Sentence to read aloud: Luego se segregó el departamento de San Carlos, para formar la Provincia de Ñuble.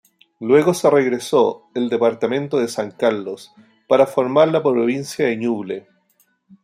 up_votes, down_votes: 0, 2